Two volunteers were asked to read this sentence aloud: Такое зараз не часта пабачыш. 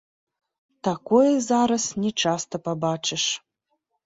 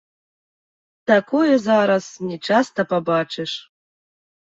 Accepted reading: first